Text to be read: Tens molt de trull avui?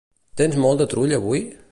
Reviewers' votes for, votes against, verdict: 2, 0, accepted